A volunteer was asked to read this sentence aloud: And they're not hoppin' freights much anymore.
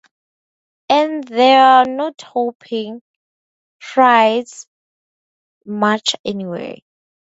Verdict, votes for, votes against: rejected, 0, 4